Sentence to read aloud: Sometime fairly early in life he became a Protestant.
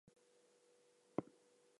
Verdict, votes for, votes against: rejected, 0, 4